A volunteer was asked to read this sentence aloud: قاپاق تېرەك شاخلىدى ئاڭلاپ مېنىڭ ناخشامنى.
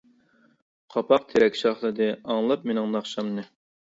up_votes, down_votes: 2, 0